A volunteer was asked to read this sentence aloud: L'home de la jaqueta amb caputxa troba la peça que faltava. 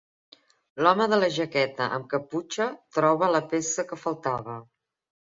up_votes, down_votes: 3, 0